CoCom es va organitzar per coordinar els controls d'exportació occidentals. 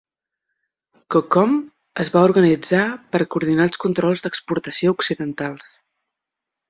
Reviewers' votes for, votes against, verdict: 6, 0, accepted